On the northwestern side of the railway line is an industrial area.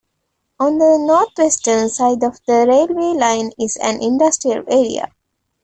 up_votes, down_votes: 2, 0